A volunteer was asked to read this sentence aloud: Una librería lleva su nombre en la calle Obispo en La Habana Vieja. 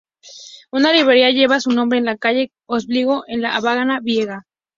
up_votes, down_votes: 0, 2